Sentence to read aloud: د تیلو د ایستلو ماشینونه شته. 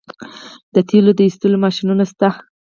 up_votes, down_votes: 2, 4